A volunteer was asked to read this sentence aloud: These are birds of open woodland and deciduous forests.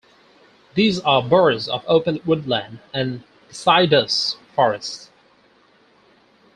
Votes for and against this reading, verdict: 0, 4, rejected